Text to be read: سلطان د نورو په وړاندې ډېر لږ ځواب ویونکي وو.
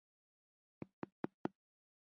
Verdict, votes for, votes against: rejected, 0, 2